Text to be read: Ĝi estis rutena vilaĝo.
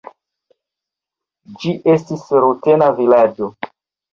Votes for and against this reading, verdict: 1, 2, rejected